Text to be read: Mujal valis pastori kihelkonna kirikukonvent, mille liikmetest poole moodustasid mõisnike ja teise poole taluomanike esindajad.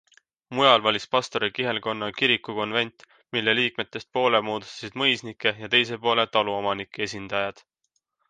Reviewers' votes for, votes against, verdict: 2, 1, accepted